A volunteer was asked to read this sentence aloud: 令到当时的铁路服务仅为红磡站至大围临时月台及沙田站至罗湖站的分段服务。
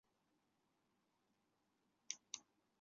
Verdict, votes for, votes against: rejected, 0, 3